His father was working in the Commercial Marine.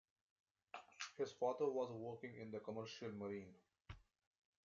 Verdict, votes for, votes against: rejected, 1, 2